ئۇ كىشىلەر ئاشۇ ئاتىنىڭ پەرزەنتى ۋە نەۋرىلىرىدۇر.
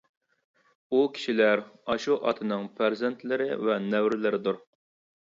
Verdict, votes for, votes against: rejected, 1, 2